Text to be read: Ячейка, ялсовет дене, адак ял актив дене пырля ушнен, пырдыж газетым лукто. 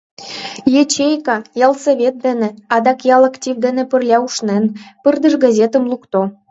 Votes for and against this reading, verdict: 2, 0, accepted